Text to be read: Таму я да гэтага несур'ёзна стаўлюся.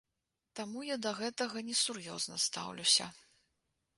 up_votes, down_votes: 2, 0